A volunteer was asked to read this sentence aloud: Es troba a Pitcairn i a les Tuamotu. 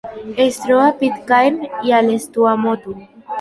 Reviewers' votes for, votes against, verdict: 3, 1, accepted